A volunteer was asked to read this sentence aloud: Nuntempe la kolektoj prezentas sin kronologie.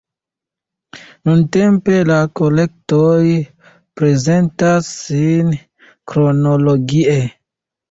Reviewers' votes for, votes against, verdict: 2, 0, accepted